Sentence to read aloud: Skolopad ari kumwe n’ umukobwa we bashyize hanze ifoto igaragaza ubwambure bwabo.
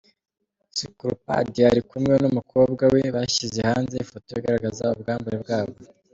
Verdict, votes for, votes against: accepted, 2, 0